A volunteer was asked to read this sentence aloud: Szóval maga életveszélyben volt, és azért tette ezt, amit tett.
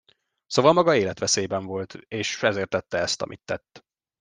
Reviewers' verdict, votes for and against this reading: rejected, 0, 2